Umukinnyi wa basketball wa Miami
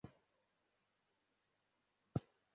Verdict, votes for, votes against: rejected, 0, 2